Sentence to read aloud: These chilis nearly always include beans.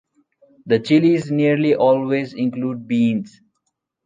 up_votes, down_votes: 1, 2